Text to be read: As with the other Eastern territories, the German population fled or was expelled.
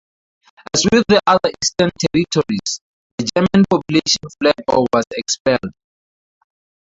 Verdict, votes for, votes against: rejected, 0, 4